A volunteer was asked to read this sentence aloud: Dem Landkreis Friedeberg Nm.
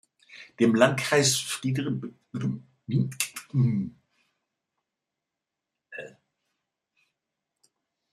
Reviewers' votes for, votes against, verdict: 0, 2, rejected